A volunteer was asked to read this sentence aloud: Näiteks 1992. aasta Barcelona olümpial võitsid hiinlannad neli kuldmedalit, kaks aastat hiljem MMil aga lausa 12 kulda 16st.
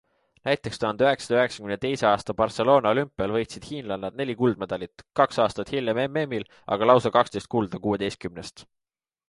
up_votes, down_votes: 0, 2